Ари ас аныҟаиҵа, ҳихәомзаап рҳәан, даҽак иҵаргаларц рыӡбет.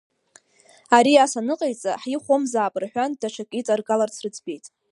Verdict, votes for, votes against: rejected, 0, 2